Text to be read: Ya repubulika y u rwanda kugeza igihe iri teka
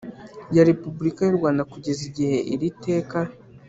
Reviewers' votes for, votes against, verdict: 3, 0, accepted